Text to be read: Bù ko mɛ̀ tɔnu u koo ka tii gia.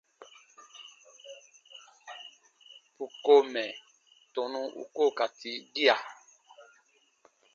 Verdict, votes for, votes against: accepted, 2, 0